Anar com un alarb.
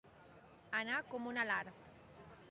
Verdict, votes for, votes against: accepted, 2, 0